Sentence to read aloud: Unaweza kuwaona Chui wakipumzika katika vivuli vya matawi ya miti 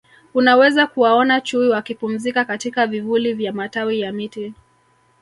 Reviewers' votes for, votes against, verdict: 1, 2, rejected